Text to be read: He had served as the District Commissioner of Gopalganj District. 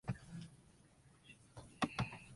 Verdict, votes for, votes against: rejected, 0, 2